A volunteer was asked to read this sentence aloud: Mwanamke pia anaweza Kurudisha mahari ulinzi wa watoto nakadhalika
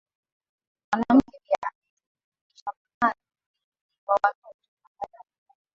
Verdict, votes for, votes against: rejected, 0, 2